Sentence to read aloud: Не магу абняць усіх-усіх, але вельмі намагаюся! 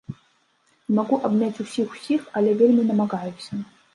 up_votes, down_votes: 0, 2